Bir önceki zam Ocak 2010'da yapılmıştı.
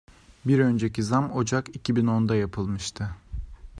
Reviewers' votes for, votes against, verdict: 0, 2, rejected